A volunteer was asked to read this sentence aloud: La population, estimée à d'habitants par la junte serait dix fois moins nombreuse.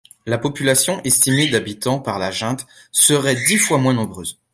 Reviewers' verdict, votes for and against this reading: rejected, 1, 2